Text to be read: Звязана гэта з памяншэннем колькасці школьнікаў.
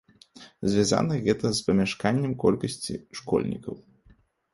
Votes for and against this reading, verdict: 1, 2, rejected